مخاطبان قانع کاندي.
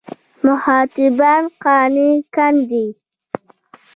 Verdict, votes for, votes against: rejected, 1, 2